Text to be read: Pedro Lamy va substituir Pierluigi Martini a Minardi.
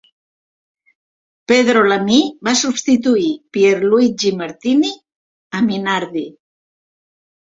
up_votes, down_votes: 1, 2